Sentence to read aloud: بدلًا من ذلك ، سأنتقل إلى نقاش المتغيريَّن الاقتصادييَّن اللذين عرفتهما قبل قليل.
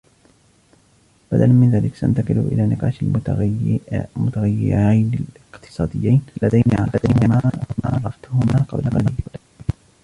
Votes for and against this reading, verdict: 1, 2, rejected